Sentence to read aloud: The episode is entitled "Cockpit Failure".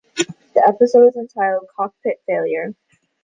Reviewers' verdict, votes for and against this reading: accepted, 2, 0